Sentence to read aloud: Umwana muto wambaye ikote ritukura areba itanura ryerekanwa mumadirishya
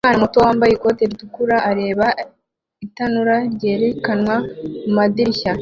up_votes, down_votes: 2, 0